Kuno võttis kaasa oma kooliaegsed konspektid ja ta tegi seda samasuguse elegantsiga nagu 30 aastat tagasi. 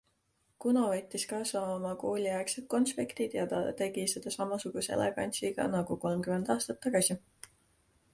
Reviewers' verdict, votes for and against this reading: rejected, 0, 2